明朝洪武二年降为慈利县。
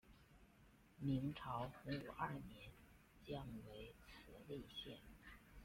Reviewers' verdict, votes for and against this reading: rejected, 1, 2